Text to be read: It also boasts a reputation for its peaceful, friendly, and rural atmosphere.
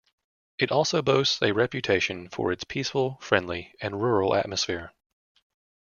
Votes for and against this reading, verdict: 2, 0, accepted